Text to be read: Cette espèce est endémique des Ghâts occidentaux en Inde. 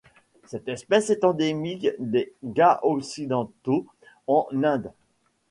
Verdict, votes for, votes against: rejected, 1, 2